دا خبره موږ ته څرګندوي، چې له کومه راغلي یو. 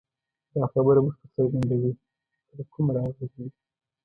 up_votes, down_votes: 1, 2